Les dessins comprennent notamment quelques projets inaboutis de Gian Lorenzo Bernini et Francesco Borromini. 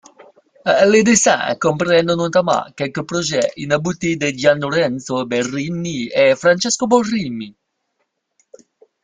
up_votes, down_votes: 0, 2